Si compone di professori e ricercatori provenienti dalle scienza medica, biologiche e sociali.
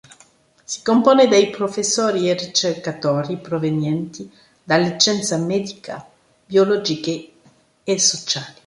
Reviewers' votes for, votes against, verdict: 0, 2, rejected